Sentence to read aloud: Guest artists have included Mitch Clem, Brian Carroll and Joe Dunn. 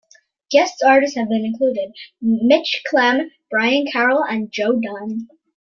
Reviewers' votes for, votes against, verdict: 2, 0, accepted